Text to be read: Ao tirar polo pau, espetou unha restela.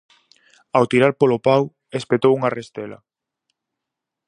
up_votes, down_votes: 4, 0